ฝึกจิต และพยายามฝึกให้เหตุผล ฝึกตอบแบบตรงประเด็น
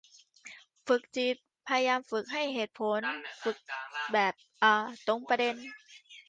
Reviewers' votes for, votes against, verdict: 0, 2, rejected